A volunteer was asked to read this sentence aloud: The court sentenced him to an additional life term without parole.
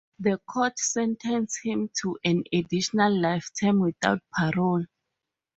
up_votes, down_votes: 2, 0